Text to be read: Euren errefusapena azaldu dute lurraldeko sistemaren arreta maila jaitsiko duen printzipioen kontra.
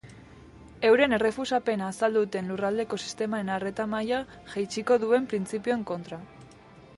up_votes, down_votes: 3, 0